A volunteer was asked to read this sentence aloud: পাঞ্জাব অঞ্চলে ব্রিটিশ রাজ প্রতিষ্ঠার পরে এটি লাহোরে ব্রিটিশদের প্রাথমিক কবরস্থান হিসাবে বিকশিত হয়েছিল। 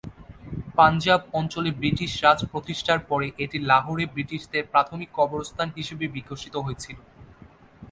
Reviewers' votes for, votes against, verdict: 6, 0, accepted